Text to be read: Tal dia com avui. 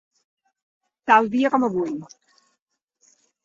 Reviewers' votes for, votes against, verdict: 2, 0, accepted